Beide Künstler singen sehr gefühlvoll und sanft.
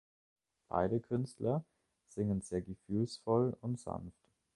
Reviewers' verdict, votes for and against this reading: rejected, 0, 2